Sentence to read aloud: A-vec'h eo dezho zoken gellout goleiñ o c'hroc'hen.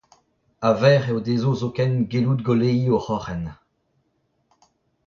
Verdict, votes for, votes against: rejected, 0, 2